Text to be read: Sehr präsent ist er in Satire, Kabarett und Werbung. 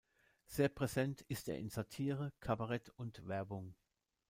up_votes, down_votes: 2, 1